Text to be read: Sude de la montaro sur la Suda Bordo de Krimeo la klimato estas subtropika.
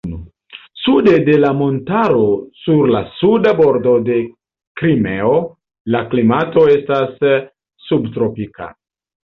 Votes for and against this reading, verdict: 1, 2, rejected